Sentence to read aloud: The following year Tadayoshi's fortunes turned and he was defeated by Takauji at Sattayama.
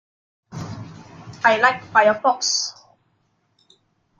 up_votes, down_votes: 0, 2